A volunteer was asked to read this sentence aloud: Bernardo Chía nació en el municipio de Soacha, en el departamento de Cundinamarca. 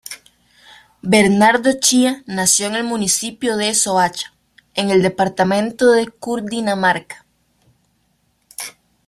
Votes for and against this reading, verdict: 0, 2, rejected